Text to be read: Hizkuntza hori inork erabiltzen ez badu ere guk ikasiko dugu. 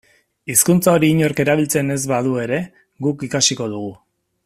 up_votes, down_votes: 3, 1